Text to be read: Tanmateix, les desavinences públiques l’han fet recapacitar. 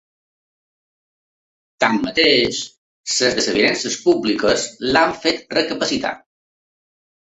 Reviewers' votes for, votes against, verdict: 0, 2, rejected